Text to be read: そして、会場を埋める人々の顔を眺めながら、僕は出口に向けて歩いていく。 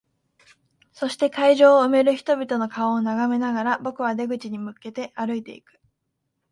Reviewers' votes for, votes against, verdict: 2, 0, accepted